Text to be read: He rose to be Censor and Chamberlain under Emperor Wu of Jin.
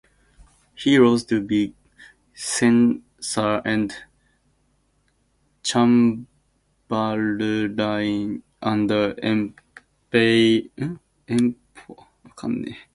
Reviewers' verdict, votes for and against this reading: rejected, 0, 2